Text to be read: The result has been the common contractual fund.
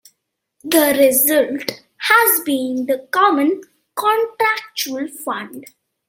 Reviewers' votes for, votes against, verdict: 2, 0, accepted